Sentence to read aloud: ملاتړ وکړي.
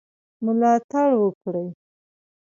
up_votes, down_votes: 2, 0